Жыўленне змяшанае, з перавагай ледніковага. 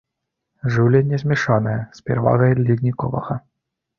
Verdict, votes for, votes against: accepted, 2, 1